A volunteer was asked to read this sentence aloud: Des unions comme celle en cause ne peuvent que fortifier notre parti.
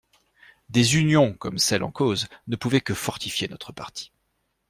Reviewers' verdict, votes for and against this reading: rejected, 1, 2